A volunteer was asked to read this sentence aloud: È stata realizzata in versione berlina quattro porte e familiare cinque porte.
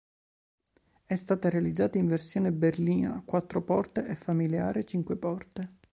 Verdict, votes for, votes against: accepted, 2, 0